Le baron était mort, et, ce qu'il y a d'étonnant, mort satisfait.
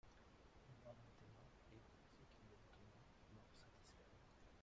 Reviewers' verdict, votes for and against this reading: rejected, 0, 2